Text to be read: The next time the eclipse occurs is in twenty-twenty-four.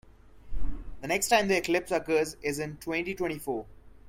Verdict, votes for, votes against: accepted, 2, 0